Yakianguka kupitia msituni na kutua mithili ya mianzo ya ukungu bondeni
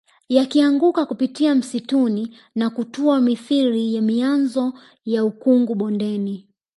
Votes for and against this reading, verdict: 2, 0, accepted